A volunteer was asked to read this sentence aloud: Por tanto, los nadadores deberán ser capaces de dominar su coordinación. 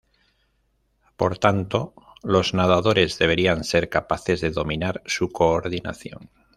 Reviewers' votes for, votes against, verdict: 1, 2, rejected